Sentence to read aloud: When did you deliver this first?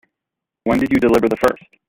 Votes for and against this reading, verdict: 0, 3, rejected